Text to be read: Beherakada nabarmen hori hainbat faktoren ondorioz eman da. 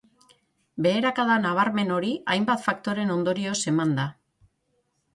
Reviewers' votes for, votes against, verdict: 9, 0, accepted